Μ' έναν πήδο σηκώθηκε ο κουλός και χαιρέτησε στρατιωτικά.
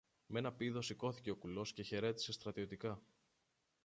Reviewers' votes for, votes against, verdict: 1, 2, rejected